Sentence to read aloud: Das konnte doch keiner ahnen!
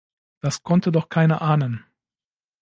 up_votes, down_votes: 2, 0